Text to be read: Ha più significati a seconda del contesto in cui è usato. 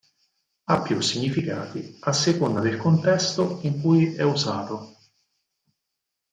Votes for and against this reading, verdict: 6, 0, accepted